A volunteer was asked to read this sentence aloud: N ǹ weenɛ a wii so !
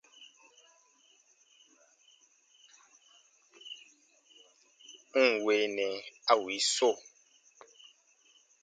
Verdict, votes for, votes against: accepted, 3, 2